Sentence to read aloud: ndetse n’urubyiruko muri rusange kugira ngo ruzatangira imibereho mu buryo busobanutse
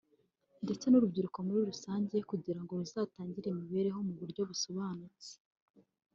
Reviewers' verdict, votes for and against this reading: rejected, 0, 2